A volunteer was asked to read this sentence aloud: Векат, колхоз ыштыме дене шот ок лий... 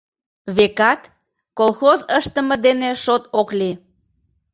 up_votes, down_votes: 2, 0